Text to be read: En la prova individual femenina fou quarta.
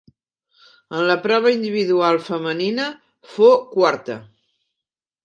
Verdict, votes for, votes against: accepted, 4, 1